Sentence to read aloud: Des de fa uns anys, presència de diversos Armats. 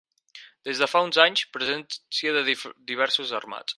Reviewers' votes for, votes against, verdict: 2, 4, rejected